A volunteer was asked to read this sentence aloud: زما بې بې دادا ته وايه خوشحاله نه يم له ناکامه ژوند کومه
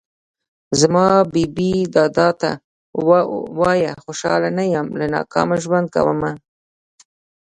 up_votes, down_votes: 0, 2